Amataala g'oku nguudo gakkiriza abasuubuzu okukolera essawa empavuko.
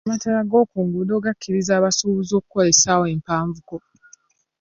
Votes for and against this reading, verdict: 2, 0, accepted